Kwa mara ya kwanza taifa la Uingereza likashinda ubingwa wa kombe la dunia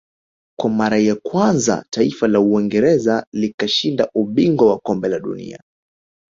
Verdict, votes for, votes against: rejected, 0, 2